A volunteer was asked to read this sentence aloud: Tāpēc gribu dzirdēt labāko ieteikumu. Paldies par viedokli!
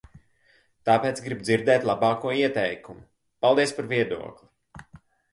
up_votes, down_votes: 2, 0